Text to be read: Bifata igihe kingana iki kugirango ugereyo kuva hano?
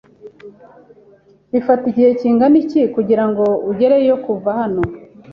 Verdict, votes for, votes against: accepted, 3, 0